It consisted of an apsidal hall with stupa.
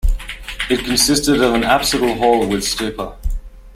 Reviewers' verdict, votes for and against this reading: accepted, 2, 0